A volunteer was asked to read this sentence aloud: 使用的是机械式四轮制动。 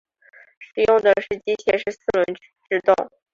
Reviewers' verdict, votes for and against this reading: accepted, 2, 0